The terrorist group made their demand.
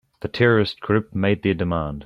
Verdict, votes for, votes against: accepted, 3, 1